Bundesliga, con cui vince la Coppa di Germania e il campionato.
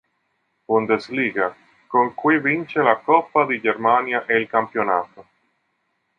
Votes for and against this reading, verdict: 3, 0, accepted